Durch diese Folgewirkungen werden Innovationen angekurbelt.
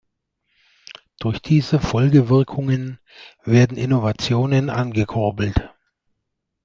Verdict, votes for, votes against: accepted, 2, 0